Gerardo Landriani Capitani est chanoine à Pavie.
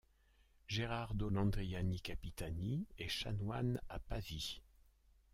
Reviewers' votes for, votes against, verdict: 1, 2, rejected